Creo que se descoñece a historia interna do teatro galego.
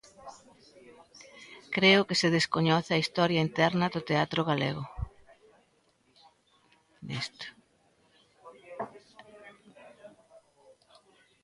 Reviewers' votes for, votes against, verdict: 0, 2, rejected